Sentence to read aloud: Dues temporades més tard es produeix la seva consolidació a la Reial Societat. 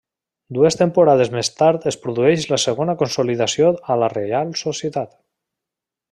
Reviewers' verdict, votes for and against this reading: accepted, 2, 0